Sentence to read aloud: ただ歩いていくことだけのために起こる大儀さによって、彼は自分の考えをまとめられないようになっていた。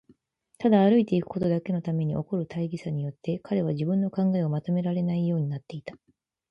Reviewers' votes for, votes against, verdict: 6, 0, accepted